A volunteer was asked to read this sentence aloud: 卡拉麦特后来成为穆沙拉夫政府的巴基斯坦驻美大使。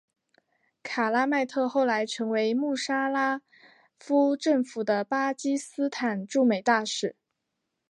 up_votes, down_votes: 2, 1